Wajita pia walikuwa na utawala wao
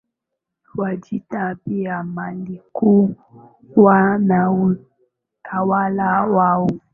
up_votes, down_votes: 3, 1